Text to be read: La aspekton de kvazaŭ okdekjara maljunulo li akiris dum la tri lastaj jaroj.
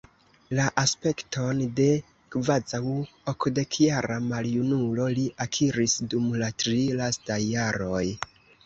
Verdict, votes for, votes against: accepted, 2, 0